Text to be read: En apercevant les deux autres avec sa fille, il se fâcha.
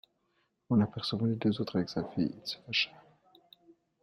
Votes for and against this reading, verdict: 2, 1, accepted